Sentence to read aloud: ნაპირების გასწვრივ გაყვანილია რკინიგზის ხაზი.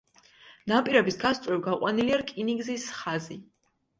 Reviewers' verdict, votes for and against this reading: accepted, 2, 0